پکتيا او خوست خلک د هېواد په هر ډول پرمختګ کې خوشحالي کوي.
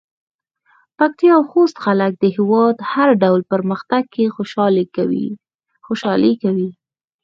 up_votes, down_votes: 4, 0